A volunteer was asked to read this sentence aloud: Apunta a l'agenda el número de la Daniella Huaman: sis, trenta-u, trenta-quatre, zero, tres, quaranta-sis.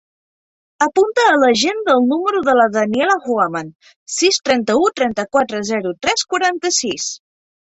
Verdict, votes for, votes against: rejected, 0, 2